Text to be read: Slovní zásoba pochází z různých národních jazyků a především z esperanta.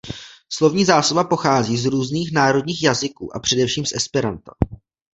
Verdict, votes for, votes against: accepted, 2, 0